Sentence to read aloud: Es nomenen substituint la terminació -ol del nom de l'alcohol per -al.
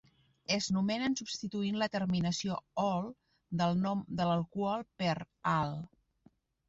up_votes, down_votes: 2, 1